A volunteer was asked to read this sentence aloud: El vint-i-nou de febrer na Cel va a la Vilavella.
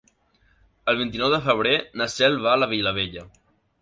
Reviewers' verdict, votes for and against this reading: accepted, 3, 0